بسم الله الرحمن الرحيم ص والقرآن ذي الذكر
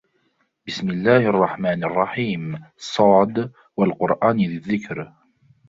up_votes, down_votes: 1, 2